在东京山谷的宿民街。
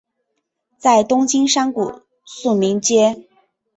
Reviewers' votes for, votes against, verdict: 4, 0, accepted